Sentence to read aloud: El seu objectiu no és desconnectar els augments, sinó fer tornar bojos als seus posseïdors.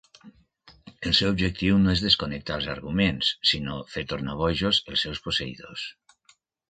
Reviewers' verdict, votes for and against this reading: accepted, 2, 1